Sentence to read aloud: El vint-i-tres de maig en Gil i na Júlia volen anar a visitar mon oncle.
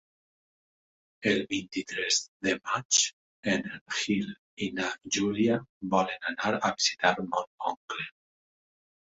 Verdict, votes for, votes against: rejected, 1, 2